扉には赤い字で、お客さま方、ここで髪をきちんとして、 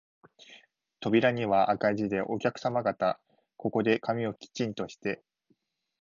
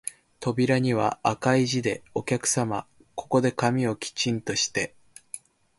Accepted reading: first